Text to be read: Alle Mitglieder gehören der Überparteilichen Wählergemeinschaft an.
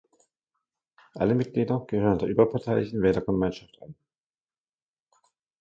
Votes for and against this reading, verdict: 1, 2, rejected